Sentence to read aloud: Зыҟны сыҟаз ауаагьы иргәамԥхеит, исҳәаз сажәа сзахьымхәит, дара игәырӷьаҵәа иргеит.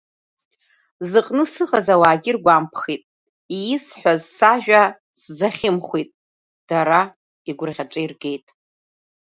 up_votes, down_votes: 2, 0